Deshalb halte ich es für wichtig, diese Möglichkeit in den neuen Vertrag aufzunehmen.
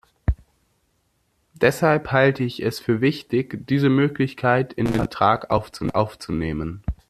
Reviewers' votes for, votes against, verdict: 0, 2, rejected